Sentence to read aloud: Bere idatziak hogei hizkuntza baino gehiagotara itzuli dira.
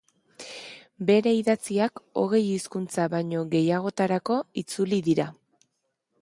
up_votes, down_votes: 0, 2